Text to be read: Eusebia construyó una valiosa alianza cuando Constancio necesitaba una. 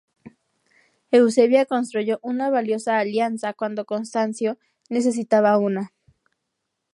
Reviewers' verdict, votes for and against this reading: accepted, 2, 0